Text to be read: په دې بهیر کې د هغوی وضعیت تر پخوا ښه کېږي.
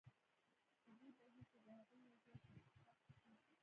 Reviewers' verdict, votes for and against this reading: rejected, 1, 2